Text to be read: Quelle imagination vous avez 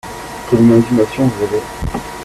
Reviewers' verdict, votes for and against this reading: rejected, 1, 2